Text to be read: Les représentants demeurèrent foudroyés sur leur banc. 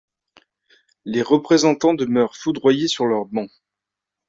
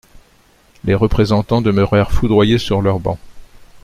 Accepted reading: second